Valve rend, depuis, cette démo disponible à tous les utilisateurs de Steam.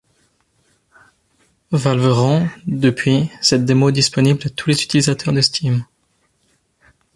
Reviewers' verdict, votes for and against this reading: accepted, 2, 1